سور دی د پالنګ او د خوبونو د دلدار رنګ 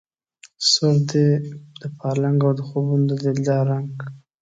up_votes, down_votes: 2, 0